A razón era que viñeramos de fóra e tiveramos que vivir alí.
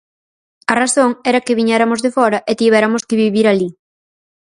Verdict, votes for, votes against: rejected, 0, 4